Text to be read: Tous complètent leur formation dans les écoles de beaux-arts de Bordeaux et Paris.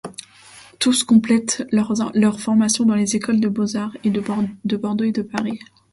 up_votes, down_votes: 1, 2